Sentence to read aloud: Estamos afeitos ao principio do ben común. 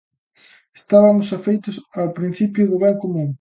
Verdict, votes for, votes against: rejected, 0, 2